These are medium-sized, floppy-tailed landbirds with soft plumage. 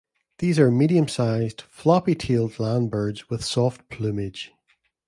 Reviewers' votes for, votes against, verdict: 2, 0, accepted